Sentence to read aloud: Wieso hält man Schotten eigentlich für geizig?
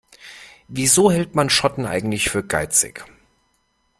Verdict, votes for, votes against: accepted, 2, 0